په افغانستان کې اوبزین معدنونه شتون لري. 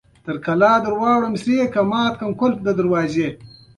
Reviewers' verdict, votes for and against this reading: rejected, 1, 2